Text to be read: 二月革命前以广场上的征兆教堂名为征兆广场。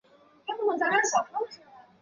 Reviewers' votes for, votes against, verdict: 0, 2, rejected